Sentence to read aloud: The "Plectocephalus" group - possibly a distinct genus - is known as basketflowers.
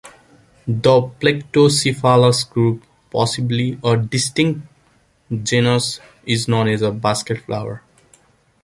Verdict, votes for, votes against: rejected, 0, 2